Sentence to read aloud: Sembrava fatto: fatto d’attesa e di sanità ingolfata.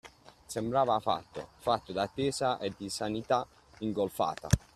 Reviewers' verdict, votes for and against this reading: accepted, 2, 0